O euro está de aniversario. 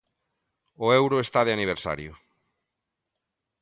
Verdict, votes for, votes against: accepted, 2, 0